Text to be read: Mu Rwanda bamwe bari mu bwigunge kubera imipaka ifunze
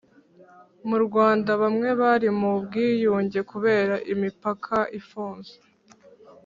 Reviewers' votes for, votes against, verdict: 2, 0, accepted